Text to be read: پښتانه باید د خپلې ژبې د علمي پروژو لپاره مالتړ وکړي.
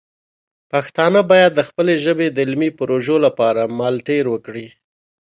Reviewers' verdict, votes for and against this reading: accepted, 2, 0